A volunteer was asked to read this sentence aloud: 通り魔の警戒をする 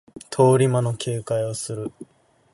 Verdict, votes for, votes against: accepted, 2, 0